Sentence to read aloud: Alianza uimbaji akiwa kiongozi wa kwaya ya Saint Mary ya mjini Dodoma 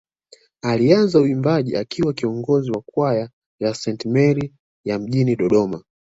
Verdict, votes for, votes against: accepted, 2, 0